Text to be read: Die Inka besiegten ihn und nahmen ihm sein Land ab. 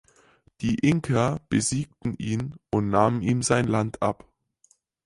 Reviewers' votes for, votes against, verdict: 4, 0, accepted